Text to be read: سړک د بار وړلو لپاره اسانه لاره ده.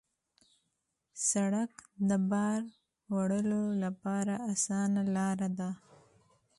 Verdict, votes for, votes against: accepted, 2, 0